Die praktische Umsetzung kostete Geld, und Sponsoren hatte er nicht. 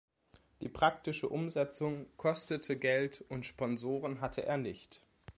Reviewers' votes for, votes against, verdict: 2, 0, accepted